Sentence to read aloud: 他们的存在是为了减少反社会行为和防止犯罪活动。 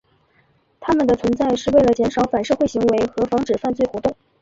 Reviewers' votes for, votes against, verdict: 2, 0, accepted